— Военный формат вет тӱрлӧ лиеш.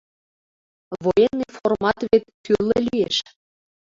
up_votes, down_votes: 1, 2